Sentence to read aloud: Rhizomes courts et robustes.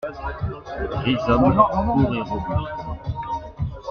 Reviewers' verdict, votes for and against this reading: rejected, 0, 2